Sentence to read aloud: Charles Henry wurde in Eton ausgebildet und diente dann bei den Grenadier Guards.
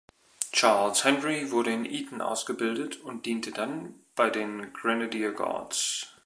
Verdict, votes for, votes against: accepted, 2, 0